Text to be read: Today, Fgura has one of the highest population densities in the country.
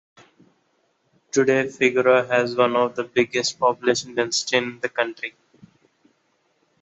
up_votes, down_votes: 3, 0